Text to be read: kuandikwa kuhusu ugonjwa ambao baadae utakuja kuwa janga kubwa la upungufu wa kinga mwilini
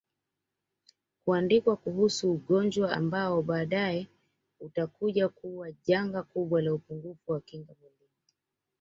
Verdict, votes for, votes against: accepted, 2, 1